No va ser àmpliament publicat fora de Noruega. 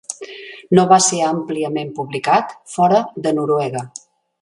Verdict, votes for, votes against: accepted, 3, 0